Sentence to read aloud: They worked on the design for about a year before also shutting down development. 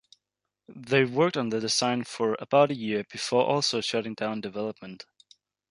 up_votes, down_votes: 2, 0